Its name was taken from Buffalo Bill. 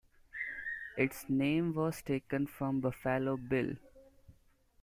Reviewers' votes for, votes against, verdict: 2, 1, accepted